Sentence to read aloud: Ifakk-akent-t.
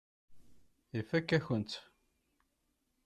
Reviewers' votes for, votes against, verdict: 1, 2, rejected